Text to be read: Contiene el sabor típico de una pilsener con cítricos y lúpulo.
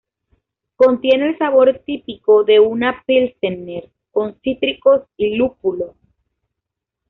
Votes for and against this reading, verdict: 2, 1, accepted